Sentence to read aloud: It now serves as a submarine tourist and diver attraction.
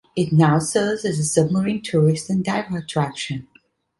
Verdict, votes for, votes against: accepted, 2, 0